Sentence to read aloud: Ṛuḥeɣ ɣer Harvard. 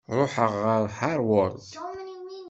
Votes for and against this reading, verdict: 1, 2, rejected